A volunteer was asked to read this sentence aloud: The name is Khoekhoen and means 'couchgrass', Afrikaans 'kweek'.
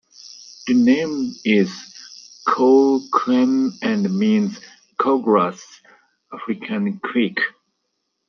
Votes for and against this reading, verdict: 0, 2, rejected